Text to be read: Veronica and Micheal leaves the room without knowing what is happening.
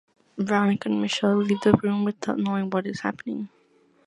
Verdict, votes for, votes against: accepted, 2, 1